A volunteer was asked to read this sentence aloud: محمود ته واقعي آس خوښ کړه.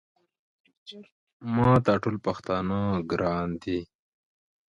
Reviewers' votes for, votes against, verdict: 2, 1, accepted